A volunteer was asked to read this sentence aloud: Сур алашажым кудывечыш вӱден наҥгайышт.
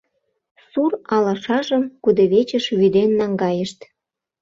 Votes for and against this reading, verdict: 2, 0, accepted